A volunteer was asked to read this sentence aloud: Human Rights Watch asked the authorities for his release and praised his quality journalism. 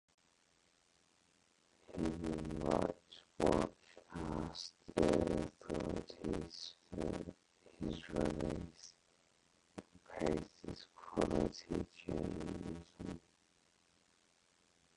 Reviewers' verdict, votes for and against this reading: rejected, 0, 4